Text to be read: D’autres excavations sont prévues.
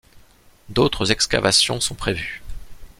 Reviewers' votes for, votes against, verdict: 2, 0, accepted